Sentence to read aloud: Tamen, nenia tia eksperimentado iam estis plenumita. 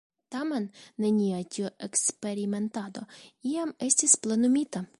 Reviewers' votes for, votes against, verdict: 1, 2, rejected